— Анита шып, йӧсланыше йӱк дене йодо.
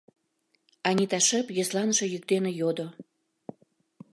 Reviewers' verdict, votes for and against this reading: accepted, 3, 0